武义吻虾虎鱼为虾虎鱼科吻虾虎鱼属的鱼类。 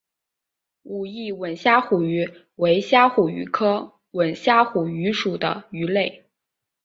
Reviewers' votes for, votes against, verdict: 4, 0, accepted